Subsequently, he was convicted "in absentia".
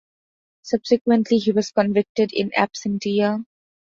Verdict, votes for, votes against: accepted, 2, 0